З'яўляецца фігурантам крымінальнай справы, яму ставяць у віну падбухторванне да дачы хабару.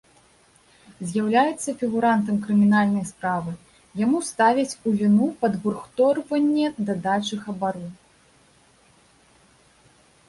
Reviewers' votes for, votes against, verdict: 0, 2, rejected